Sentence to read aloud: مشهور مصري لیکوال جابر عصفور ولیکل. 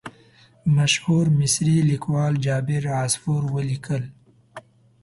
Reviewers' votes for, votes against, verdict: 2, 0, accepted